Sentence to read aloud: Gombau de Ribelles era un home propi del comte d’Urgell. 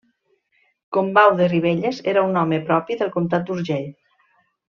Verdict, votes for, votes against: rejected, 0, 2